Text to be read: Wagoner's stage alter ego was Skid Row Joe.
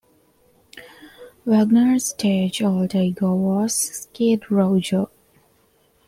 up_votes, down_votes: 1, 2